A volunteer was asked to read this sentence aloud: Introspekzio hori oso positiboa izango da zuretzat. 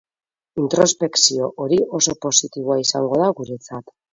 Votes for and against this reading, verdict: 0, 4, rejected